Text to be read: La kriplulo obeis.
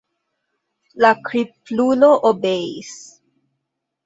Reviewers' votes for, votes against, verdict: 1, 2, rejected